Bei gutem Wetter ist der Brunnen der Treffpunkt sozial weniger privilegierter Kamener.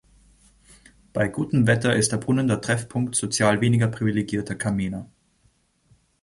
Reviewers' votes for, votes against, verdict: 0, 2, rejected